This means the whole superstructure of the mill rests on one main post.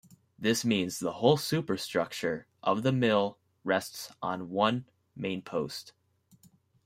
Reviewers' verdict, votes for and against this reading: accepted, 2, 0